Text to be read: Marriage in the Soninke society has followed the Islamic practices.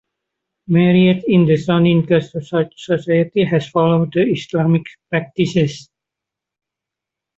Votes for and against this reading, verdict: 1, 2, rejected